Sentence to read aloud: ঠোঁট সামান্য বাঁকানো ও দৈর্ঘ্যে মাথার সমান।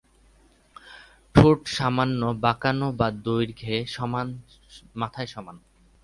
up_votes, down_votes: 0, 2